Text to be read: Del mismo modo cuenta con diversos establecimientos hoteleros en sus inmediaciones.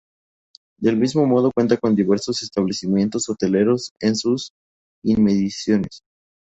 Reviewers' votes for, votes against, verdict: 0, 2, rejected